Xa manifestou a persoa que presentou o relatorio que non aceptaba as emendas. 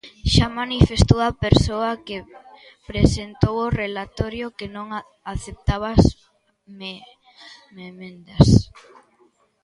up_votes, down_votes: 0, 2